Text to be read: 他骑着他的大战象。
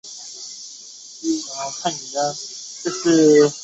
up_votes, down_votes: 1, 2